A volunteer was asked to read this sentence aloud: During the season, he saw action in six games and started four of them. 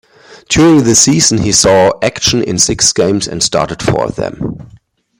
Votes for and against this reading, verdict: 2, 1, accepted